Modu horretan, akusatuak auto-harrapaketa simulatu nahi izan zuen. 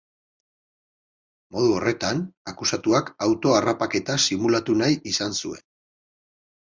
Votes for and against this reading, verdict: 8, 0, accepted